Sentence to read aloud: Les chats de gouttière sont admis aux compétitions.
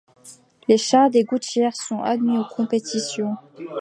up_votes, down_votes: 0, 2